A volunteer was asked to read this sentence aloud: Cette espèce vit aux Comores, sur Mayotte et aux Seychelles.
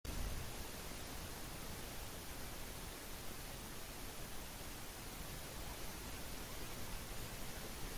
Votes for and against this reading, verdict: 1, 2, rejected